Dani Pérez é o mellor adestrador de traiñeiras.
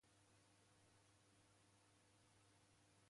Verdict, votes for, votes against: rejected, 0, 2